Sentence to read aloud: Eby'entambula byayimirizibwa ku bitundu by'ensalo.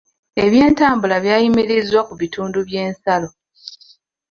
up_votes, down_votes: 1, 2